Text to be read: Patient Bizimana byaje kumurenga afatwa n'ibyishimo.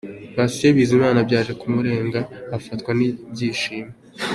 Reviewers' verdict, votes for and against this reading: accepted, 3, 0